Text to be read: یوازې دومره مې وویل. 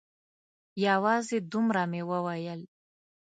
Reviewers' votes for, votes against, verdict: 2, 0, accepted